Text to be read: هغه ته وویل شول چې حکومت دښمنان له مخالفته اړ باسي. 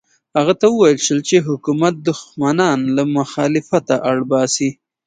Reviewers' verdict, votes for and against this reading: accepted, 2, 0